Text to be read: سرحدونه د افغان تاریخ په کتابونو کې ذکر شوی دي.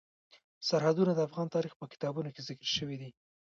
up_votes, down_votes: 1, 2